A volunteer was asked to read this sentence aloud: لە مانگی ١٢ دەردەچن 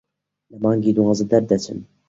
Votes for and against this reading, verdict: 0, 2, rejected